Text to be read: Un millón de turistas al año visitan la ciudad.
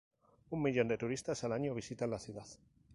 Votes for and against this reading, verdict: 0, 2, rejected